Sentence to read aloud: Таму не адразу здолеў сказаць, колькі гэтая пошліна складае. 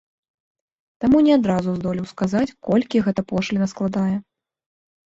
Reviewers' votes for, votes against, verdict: 1, 2, rejected